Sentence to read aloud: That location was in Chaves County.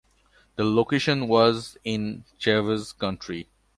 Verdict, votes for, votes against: accepted, 2, 1